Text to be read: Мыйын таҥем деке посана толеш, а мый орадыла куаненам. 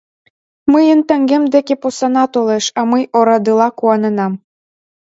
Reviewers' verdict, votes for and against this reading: accepted, 2, 0